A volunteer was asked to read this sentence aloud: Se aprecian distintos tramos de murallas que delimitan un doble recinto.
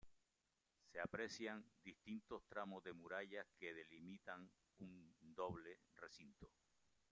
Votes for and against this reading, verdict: 1, 2, rejected